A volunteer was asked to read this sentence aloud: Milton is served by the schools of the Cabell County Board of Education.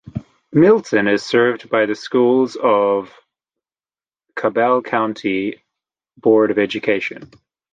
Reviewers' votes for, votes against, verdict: 0, 2, rejected